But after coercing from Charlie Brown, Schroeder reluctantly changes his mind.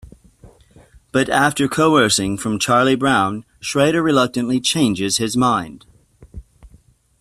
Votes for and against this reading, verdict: 2, 0, accepted